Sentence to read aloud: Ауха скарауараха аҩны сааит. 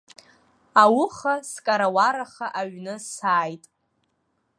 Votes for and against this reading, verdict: 2, 0, accepted